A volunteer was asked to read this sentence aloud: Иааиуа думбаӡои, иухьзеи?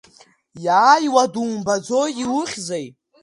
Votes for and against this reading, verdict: 2, 0, accepted